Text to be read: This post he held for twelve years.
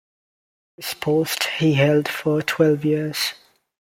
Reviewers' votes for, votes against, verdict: 2, 0, accepted